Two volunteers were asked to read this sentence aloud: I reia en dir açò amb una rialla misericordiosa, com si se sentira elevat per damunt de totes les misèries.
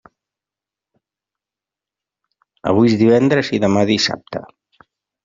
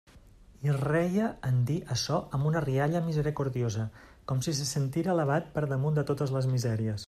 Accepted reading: second